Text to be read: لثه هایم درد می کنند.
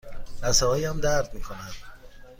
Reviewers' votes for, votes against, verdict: 2, 0, accepted